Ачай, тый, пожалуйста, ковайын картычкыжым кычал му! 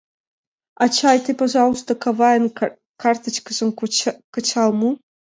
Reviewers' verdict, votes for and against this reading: rejected, 1, 2